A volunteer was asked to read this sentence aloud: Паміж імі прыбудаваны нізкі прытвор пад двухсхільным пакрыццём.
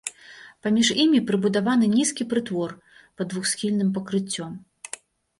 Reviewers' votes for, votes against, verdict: 2, 0, accepted